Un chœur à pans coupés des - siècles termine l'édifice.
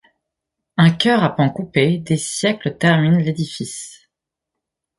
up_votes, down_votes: 1, 2